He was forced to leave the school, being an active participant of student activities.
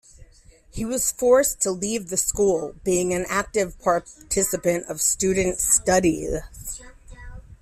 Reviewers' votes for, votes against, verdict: 1, 2, rejected